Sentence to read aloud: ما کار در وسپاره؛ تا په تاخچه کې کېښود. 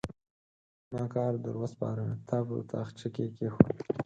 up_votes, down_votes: 4, 2